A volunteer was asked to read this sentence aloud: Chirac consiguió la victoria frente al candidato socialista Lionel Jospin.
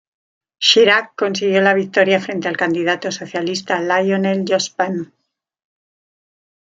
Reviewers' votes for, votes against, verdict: 2, 0, accepted